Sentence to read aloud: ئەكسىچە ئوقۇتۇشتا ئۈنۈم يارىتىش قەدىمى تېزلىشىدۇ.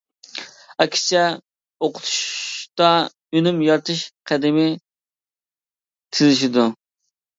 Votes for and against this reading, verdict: 0, 2, rejected